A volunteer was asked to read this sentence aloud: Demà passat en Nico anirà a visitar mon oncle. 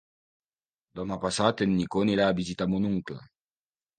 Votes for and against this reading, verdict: 2, 1, accepted